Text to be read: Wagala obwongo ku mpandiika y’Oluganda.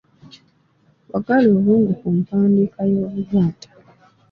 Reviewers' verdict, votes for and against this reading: accepted, 2, 0